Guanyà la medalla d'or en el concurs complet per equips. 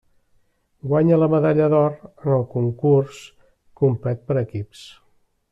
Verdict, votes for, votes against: rejected, 0, 2